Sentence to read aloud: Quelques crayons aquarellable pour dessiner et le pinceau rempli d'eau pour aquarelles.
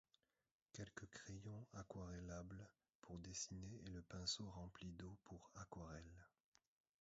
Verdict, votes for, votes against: rejected, 0, 2